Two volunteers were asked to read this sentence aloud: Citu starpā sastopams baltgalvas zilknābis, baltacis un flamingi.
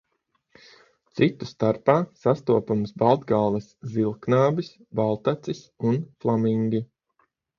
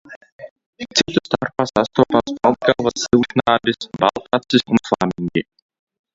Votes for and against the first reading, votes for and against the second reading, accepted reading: 9, 3, 0, 2, first